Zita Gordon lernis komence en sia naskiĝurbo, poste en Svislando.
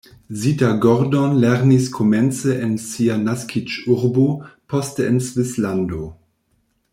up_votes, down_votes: 1, 2